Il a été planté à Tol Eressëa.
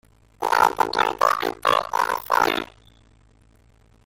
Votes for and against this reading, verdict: 0, 2, rejected